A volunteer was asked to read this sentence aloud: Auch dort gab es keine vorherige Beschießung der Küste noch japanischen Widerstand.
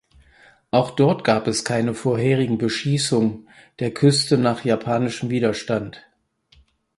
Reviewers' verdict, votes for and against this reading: rejected, 0, 4